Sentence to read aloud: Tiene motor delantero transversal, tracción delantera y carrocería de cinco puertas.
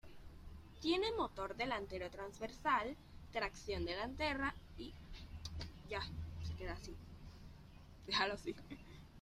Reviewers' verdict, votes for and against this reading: rejected, 0, 2